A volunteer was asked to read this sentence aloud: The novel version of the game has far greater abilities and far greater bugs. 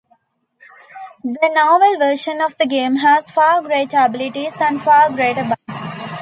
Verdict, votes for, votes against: accepted, 2, 0